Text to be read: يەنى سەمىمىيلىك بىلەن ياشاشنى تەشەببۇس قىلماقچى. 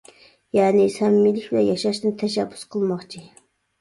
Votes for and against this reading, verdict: 0, 2, rejected